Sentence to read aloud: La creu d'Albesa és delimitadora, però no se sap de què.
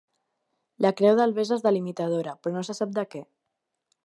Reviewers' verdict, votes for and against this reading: accepted, 2, 0